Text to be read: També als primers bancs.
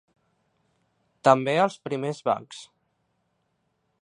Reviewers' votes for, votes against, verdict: 2, 0, accepted